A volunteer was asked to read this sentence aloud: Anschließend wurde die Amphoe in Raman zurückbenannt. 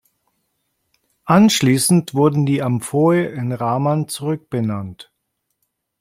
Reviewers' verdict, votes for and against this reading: rejected, 1, 2